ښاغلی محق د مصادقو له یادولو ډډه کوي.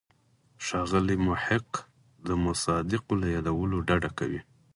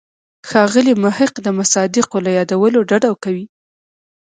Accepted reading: second